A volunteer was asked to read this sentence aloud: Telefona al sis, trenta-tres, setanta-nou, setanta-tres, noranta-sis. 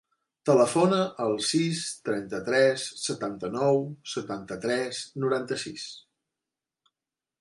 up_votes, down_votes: 3, 0